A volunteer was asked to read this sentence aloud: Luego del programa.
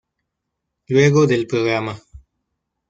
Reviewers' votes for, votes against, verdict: 2, 0, accepted